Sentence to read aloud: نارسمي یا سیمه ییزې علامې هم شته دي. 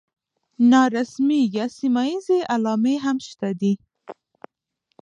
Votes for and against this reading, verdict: 1, 2, rejected